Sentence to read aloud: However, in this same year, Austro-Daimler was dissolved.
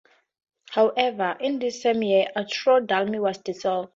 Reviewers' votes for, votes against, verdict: 2, 0, accepted